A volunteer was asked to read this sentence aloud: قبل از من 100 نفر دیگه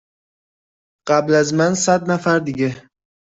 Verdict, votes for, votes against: rejected, 0, 2